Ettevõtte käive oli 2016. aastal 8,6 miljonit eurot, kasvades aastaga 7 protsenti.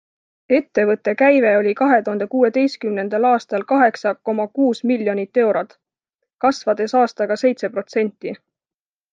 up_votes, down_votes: 0, 2